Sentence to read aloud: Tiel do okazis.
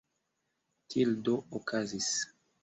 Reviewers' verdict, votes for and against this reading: accepted, 2, 1